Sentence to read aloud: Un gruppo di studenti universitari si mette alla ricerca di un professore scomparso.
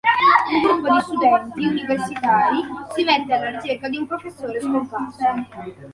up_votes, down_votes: 2, 1